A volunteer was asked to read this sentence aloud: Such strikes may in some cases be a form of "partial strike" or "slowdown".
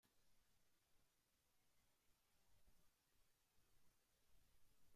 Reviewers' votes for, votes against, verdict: 0, 2, rejected